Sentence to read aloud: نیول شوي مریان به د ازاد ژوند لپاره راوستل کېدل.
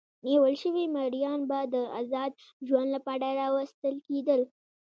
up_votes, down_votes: 2, 0